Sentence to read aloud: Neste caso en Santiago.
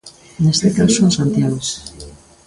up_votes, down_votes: 0, 2